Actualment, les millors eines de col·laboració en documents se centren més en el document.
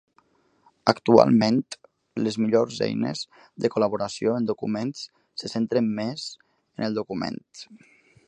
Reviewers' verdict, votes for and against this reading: accepted, 3, 0